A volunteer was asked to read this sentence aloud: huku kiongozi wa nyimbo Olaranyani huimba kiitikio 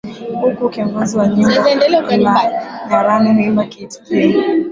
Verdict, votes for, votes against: rejected, 0, 2